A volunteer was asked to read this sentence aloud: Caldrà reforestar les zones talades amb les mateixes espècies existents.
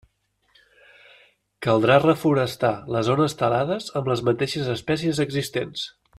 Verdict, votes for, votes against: accepted, 2, 0